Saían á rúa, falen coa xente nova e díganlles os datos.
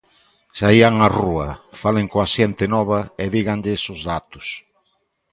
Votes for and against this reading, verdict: 2, 0, accepted